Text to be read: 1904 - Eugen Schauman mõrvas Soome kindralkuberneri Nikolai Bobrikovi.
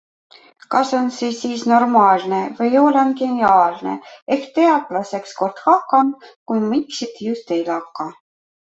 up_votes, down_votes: 0, 2